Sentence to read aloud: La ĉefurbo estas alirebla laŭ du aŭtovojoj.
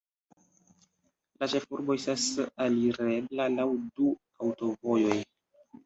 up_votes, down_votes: 2, 1